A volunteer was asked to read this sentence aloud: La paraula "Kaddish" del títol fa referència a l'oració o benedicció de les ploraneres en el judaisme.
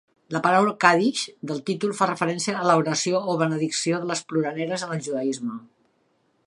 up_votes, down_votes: 2, 3